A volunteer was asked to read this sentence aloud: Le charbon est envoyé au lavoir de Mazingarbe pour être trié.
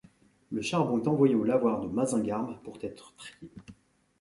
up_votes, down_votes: 1, 2